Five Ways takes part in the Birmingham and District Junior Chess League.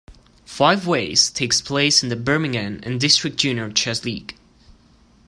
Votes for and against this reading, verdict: 1, 2, rejected